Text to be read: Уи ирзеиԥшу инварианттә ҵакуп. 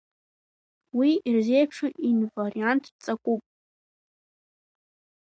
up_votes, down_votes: 2, 1